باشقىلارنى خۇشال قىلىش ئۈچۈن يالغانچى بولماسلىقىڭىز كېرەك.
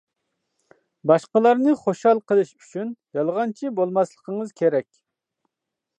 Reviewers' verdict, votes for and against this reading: accepted, 2, 0